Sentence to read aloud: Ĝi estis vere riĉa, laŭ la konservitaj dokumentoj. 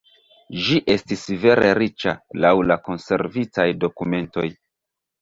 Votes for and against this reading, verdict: 0, 2, rejected